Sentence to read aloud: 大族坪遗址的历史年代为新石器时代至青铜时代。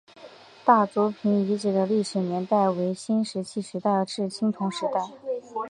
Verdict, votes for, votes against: accepted, 4, 1